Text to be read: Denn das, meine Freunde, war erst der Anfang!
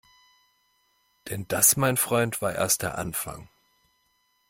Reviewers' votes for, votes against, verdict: 0, 2, rejected